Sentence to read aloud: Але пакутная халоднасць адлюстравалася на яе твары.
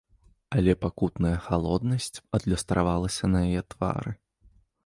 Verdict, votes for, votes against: rejected, 1, 2